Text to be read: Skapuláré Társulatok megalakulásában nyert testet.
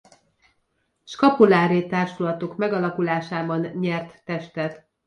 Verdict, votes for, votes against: accepted, 2, 0